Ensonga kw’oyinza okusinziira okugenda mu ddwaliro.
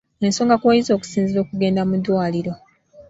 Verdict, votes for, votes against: rejected, 1, 2